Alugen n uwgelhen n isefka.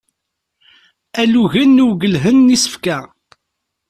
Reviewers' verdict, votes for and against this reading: accepted, 2, 0